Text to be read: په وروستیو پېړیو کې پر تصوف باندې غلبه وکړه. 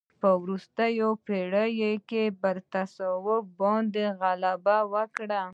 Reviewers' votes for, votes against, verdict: 2, 0, accepted